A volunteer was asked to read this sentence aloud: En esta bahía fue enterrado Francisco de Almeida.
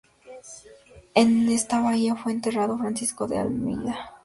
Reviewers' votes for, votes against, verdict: 2, 0, accepted